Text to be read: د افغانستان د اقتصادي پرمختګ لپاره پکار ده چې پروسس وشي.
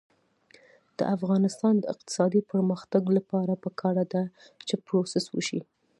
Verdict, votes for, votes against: accepted, 2, 0